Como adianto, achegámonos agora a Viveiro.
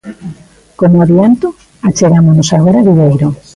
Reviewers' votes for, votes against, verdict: 2, 1, accepted